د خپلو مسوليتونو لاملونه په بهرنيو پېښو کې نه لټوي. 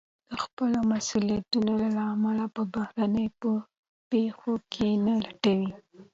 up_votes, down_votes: 2, 0